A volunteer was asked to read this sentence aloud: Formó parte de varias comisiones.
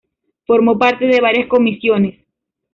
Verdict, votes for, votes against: rejected, 0, 2